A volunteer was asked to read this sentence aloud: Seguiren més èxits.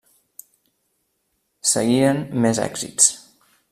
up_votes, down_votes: 0, 2